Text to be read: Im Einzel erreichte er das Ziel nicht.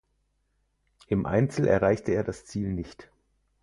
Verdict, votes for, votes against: accepted, 4, 0